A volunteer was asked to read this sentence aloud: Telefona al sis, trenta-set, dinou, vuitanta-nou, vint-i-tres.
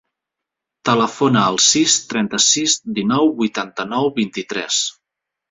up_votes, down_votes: 1, 2